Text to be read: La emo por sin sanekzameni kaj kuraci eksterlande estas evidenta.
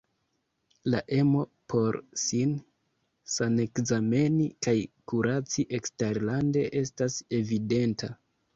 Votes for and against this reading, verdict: 2, 0, accepted